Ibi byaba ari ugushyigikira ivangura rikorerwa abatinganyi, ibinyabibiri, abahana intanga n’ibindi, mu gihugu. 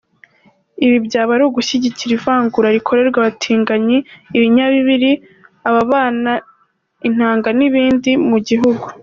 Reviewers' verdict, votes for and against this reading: accepted, 2, 1